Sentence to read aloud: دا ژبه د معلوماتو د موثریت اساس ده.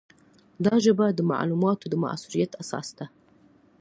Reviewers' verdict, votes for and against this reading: accepted, 2, 0